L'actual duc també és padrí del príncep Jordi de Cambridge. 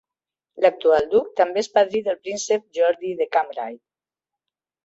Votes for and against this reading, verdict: 0, 3, rejected